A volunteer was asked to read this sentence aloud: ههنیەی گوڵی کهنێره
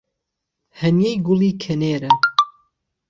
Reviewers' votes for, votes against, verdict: 1, 2, rejected